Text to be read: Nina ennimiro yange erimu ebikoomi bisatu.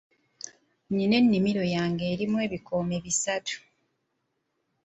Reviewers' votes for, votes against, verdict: 2, 0, accepted